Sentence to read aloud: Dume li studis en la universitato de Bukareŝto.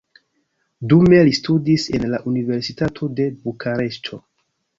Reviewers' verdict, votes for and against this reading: accepted, 2, 0